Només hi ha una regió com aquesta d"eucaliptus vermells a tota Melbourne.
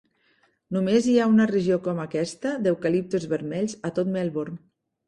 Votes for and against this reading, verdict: 0, 2, rejected